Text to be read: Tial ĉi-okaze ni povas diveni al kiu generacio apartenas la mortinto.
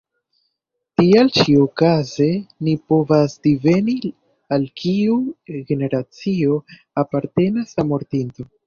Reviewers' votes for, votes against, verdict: 1, 2, rejected